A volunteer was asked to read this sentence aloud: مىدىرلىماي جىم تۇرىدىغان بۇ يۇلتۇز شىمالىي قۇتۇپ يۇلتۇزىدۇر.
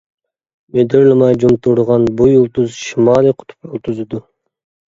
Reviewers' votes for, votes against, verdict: 1, 2, rejected